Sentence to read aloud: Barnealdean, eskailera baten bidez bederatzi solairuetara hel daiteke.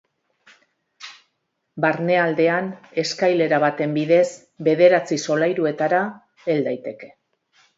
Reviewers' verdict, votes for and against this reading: accepted, 2, 0